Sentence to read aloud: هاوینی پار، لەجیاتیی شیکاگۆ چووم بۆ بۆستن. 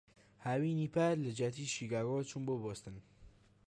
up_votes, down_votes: 1, 2